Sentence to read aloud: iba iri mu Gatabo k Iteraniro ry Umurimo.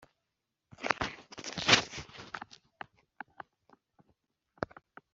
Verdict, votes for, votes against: rejected, 1, 2